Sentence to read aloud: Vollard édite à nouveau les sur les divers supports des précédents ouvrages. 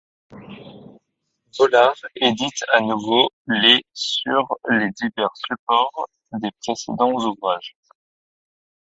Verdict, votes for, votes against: rejected, 1, 2